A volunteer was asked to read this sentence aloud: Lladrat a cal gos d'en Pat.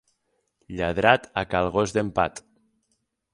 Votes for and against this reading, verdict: 6, 0, accepted